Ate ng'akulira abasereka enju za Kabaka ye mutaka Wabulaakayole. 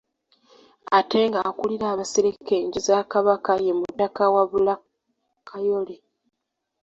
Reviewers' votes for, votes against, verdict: 2, 0, accepted